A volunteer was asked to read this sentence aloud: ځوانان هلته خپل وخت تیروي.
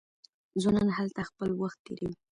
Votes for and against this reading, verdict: 2, 0, accepted